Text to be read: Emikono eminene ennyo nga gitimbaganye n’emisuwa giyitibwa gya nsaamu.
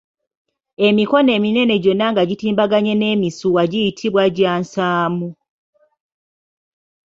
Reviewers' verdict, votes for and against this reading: rejected, 0, 2